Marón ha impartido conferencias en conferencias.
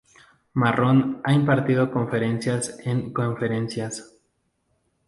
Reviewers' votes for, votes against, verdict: 0, 2, rejected